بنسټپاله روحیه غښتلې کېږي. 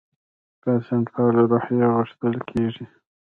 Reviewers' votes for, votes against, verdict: 0, 2, rejected